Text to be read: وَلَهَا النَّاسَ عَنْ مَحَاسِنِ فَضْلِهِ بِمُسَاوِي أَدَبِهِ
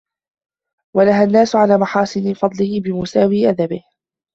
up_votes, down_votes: 2, 1